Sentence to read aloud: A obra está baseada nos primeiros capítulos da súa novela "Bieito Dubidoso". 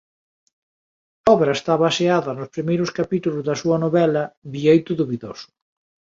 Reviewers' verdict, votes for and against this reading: rejected, 0, 2